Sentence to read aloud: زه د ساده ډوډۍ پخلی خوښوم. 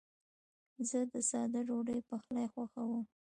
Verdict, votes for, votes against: accepted, 2, 0